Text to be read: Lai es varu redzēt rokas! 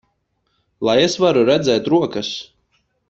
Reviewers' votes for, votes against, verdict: 4, 0, accepted